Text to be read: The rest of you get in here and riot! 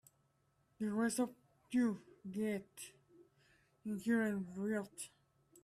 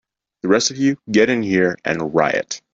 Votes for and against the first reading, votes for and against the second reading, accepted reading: 0, 3, 2, 0, second